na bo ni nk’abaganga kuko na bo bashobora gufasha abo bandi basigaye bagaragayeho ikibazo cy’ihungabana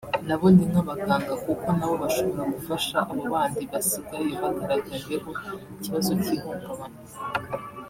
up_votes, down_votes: 1, 2